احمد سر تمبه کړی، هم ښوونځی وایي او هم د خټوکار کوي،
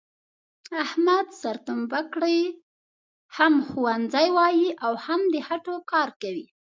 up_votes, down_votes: 1, 2